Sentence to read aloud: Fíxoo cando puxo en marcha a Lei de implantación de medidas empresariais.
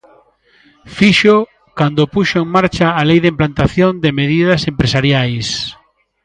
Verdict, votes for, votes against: accepted, 2, 0